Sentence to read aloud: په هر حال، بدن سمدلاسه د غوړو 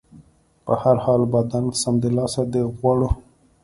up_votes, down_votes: 2, 0